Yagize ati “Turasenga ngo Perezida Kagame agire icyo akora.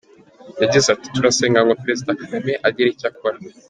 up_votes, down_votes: 1, 2